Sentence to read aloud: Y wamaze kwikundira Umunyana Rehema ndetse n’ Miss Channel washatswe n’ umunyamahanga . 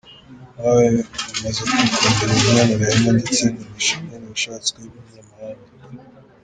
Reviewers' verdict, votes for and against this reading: rejected, 1, 2